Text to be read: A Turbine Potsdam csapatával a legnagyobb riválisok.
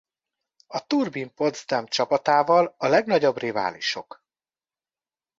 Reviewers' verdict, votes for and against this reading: accepted, 2, 0